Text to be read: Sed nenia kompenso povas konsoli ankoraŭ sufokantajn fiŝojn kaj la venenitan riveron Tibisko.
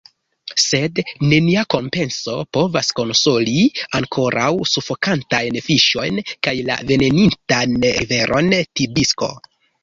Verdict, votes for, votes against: accepted, 2, 0